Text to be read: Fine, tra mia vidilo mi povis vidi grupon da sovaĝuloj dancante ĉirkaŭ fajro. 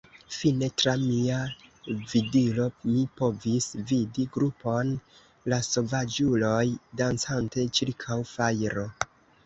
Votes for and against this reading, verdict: 1, 2, rejected